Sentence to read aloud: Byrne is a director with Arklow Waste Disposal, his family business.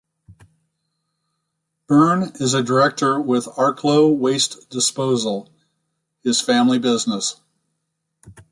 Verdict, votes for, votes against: rejected, 0, 2